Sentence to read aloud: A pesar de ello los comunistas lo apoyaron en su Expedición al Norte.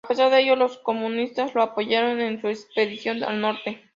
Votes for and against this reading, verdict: 2, 0, accepted